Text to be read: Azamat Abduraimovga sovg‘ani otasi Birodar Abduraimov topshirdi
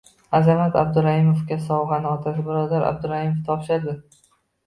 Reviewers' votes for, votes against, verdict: 2, 0, accepted